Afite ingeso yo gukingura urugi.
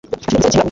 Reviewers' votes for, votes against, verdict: 1, 2, rejected